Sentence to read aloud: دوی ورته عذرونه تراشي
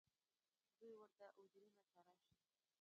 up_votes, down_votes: 1, 2